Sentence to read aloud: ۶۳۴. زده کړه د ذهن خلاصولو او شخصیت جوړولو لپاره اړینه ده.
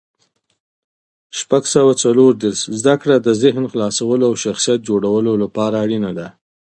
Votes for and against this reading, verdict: 0, 2, rejected